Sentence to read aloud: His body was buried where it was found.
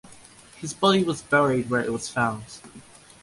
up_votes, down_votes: 2, 0